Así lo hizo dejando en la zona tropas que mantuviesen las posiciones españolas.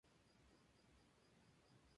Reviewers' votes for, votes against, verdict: 0, 2, rejected